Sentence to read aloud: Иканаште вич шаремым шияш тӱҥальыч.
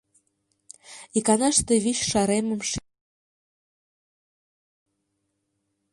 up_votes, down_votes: 0, 2